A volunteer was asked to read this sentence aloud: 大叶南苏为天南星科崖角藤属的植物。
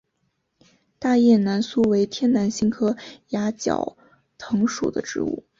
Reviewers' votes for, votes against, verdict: 6, 0, accepted